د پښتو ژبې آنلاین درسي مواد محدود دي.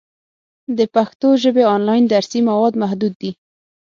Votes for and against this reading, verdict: 6, 3, accepted